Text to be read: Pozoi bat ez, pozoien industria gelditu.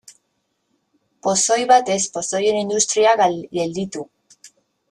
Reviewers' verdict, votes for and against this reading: rejected, 1, 2